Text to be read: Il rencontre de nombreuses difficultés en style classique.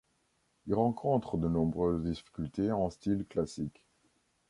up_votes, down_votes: 2, 1